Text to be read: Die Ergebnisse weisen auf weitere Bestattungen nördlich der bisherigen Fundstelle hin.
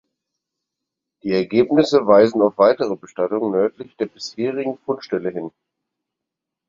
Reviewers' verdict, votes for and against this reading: accepted, 4, 0